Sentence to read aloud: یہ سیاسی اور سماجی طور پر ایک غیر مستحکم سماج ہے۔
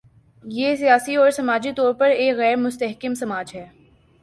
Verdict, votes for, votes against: accepted, 2, 0